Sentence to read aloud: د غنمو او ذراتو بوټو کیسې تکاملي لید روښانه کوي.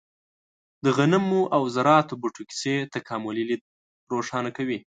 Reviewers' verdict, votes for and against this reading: accepted, 2, 0